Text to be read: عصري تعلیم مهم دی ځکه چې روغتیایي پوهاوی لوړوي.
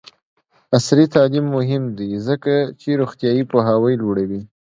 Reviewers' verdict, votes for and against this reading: rejected, 1, 2